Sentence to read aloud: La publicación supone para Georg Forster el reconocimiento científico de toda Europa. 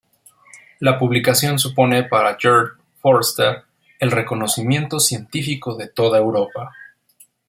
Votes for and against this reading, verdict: 4, 0, accepted